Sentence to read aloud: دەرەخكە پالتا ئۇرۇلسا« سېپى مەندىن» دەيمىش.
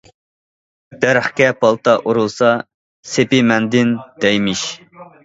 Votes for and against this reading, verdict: 2, 0, accepted